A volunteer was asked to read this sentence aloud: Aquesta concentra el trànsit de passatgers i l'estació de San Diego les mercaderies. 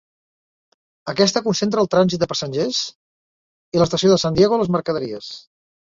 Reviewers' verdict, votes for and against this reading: accepted, 2, 0